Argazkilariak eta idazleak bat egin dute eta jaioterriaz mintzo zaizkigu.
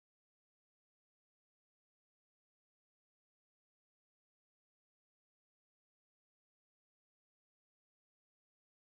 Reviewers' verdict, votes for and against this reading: rejected, 0, 2